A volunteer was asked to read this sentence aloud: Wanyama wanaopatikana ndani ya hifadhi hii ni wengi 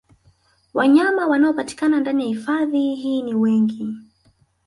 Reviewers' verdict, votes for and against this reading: accepted, 3, 1